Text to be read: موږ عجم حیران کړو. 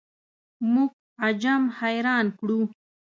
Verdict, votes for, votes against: accepted, 2, 0